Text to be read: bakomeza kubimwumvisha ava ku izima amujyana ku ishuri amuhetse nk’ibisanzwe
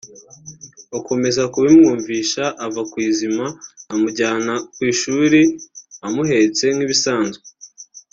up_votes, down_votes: 2, 1